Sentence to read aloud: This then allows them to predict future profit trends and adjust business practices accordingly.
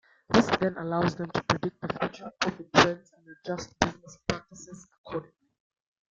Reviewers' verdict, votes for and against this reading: rejected, 1, 2